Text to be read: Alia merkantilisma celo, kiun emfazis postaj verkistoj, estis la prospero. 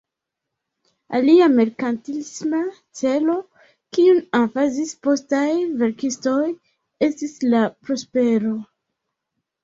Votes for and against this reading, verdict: 0, 2, rejected